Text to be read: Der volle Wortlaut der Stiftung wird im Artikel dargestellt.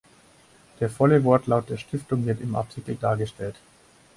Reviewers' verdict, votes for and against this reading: accepted, 4, 0